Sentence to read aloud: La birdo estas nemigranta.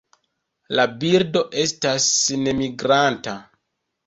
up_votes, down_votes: 2, 0